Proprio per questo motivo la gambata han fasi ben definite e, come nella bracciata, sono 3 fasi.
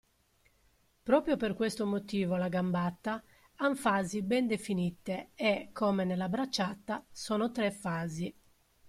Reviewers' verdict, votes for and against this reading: rejected, 0, 2